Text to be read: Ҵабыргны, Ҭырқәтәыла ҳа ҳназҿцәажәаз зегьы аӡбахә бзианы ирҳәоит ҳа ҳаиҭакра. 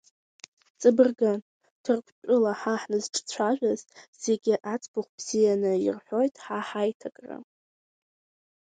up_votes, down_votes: 1, 2